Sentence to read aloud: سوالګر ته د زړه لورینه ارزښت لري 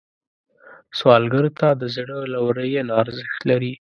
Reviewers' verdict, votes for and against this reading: accepted, 2, 0